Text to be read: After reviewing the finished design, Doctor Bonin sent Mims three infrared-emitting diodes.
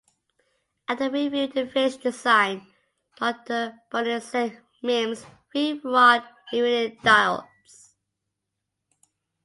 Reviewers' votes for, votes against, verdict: 0, 2, rejected